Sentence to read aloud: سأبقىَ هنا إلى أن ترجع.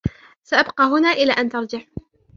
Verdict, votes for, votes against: accepted, 3, 0